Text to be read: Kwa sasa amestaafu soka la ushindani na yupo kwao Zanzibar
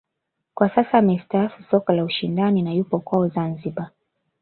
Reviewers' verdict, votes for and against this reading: rejected, 1, 2